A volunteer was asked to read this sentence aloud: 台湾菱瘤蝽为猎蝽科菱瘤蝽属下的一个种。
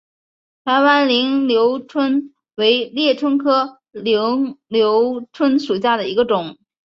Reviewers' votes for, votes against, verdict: 5, 0, accepted